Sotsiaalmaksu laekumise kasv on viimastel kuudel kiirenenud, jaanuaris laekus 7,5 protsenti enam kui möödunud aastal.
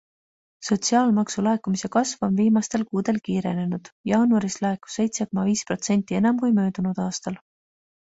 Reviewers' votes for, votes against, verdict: 0, 2, rejected